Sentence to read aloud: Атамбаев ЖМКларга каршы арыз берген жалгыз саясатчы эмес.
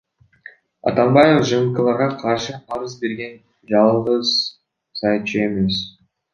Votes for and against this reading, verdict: 0, 2, rejected